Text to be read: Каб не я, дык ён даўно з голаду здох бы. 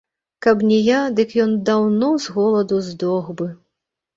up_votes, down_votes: 1, 3